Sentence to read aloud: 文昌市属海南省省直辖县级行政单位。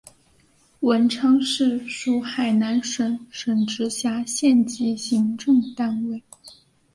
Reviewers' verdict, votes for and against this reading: accepted, 2, 0